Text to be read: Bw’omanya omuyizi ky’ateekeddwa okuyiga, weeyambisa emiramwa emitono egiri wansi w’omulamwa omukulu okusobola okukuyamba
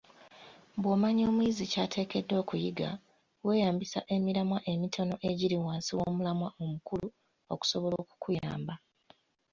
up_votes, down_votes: 2, 0